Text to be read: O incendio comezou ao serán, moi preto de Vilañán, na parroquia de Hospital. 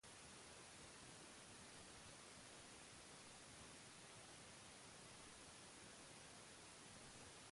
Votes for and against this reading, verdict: 1, 2, rejected